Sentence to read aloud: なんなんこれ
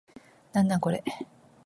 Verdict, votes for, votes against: rejected, 1, 2